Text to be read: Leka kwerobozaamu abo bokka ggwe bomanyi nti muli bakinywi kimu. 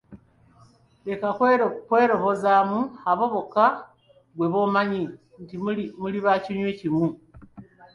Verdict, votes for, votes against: rejected, 1, 2